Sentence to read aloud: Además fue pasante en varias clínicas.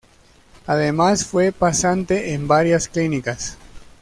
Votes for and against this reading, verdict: 2, 0, accepted